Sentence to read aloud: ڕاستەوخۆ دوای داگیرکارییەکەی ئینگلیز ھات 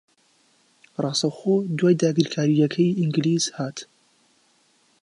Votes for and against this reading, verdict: 2, 0, accepted